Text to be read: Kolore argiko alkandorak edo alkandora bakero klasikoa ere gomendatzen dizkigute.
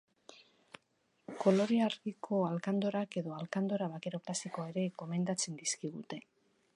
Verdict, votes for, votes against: rejected, 1, 2